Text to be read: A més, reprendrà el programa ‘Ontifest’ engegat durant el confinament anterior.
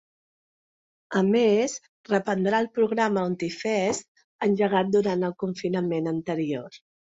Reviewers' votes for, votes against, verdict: 2, 0, accepted